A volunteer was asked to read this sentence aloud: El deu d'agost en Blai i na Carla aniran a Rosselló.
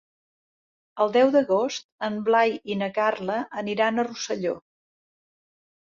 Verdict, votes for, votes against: accepted, 3, 0